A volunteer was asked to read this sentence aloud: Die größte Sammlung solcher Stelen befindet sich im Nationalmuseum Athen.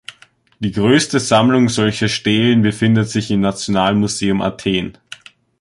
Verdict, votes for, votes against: accepted, 2, 0